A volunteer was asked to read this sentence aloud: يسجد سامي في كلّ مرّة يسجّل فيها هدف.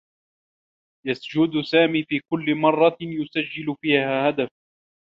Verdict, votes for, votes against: rejected, 1, 2